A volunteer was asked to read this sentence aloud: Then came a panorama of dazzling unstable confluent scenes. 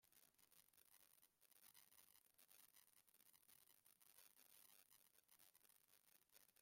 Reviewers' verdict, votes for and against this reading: rejected, 0, 3